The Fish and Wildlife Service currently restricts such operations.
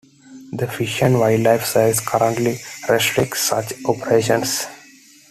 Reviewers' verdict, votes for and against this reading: accepted, 2, 0